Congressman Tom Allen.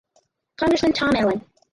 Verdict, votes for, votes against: rejected, 0, 4